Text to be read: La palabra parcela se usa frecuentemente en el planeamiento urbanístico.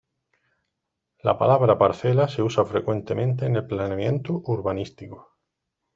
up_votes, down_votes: 2, 0